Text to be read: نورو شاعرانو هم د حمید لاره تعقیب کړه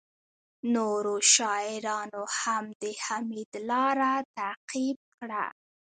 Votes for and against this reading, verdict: 2, 1, accepted